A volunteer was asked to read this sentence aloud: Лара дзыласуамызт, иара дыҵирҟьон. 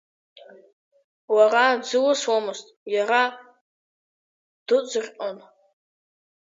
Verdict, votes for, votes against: rejected, 1, 2